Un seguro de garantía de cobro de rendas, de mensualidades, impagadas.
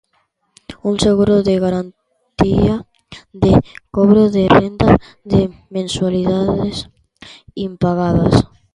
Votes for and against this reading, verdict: 0, 2, rejected